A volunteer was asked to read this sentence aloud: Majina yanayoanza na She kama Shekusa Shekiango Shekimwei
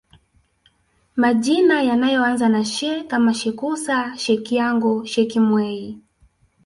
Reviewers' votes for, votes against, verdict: 0, 2, rejected